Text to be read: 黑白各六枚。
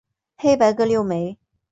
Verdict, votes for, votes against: accepted, 4, 0